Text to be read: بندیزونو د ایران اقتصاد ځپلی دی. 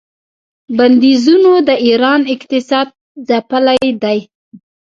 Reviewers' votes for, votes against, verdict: 0, 2, rejected